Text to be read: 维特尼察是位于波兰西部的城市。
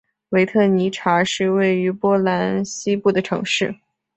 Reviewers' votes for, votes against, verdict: 2, 0, accepted